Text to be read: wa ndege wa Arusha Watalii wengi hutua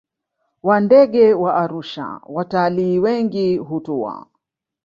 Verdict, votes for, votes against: rejected, 0, 2